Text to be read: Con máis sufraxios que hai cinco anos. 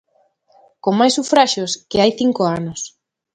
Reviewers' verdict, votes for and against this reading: accepted, 2, 0